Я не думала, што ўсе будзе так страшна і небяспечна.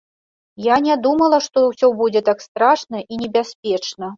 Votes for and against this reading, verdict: 2, 0, accepted